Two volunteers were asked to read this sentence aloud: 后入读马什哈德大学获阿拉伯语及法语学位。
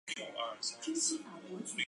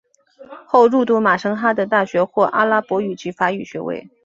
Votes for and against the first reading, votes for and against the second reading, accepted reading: 1, 5, 7, 0, second